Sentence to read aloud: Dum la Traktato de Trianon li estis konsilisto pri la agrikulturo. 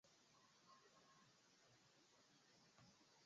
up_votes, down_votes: 1, 3